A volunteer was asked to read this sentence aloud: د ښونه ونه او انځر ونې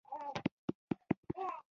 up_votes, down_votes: 0, 2